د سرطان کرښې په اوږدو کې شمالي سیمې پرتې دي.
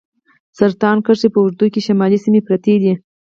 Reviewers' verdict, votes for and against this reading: rejected, 2, 4